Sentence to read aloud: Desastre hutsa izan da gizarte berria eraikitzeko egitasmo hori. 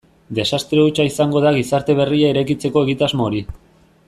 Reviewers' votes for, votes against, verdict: 1, 2, rejected